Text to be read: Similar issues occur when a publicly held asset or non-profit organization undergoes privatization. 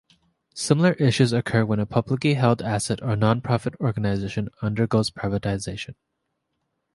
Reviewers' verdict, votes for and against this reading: accepted, 2, 0